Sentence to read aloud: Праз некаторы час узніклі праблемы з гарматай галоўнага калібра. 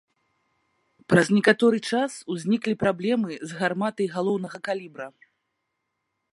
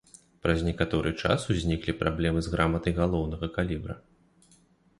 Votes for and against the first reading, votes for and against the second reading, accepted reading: 2, 0, 0, 2, first